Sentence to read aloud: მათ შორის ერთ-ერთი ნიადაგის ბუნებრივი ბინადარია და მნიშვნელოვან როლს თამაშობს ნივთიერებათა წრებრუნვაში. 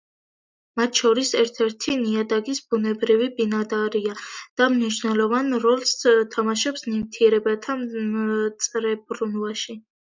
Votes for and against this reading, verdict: 2, 0, accepted